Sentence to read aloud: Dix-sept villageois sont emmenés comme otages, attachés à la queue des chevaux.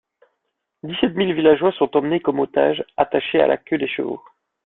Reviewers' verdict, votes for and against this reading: rejected, 0, 2